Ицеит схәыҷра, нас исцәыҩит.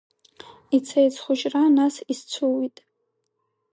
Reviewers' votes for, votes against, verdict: 2, 0, accepted